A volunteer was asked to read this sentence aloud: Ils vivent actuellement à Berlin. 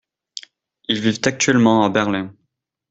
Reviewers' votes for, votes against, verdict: 2, 0, accepted